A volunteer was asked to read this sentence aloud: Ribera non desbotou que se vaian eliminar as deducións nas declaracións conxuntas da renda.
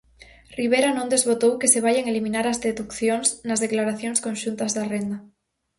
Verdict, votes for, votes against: accepted, 4, 0